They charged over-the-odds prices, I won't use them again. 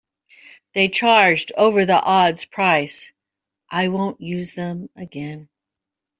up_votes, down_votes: 0, 2